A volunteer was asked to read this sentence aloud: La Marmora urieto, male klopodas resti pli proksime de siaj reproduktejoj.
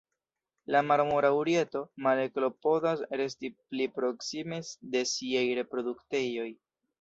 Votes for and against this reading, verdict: 1, 2, rejected